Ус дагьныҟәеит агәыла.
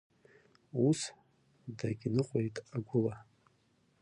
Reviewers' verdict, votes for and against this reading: rejected, 1, 2